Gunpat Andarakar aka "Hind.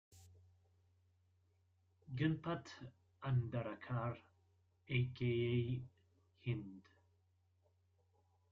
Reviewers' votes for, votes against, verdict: 0, 2, rejected